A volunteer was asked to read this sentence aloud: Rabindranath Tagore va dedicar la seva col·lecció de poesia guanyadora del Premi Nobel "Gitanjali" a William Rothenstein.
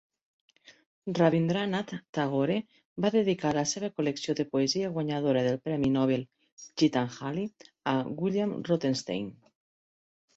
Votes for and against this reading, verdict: 3, 0, accepted